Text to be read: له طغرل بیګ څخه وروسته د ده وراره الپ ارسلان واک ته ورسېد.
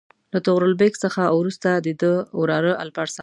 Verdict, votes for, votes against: rejected, 1, 2